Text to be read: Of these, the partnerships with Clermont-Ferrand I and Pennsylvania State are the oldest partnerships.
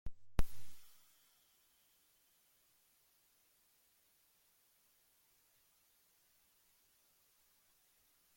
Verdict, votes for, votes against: rejected, 0, 2